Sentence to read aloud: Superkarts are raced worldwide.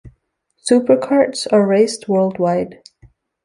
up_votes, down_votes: 2, 0